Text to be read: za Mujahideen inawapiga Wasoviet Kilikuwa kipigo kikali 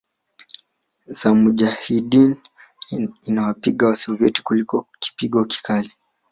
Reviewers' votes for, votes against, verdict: 3, 2, accepted